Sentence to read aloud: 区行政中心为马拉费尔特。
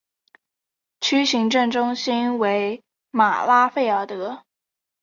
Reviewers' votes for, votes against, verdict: 4, 0, accepted